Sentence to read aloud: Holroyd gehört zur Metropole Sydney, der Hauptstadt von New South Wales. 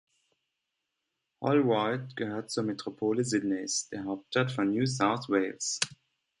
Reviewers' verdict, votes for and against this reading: rejected, 0, 2